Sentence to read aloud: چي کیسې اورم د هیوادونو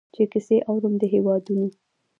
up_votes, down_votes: 2, 1